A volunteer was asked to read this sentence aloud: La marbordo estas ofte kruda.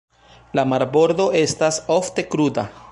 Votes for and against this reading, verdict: 2, 0, accepted